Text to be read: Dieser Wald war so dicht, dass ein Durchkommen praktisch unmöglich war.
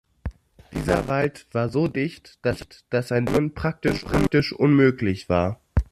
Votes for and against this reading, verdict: 0, 2, rejected